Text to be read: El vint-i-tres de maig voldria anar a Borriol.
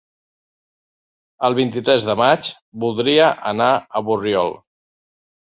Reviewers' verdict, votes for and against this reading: accepted, 5, 0